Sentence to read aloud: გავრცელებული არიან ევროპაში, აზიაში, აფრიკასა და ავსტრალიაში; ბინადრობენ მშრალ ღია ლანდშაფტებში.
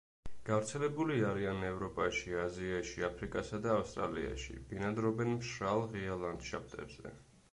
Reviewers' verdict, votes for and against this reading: accepted, 2, 1